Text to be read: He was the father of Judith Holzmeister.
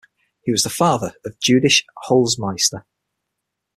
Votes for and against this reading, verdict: 3, 6, rejected